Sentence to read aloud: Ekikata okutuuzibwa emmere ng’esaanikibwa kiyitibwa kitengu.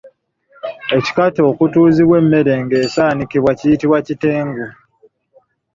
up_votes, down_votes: 2, 1